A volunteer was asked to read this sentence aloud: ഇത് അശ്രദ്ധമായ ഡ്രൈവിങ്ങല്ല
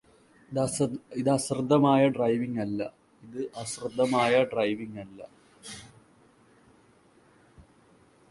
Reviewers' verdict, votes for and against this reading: rejected, 0, 2